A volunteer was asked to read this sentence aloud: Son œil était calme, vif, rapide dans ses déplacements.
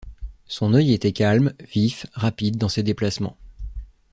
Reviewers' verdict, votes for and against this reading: accepted, 2, 0